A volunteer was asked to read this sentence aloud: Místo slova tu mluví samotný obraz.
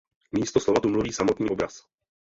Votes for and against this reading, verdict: 0, 2, rejected